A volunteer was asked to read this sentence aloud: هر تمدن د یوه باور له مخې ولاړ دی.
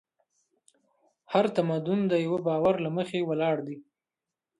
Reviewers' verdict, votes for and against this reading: rejected, 0, 2